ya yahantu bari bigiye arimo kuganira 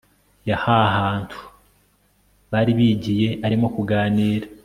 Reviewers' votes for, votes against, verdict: 1, 2, rejected